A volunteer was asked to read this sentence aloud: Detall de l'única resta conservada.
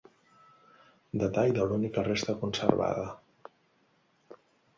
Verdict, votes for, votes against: accepted, 2, 0